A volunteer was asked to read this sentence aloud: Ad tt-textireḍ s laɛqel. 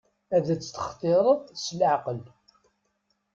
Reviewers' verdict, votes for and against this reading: rejected, 1, 2